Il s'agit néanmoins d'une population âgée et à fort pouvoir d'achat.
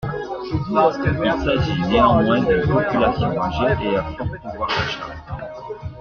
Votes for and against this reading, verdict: 0, 2, rejected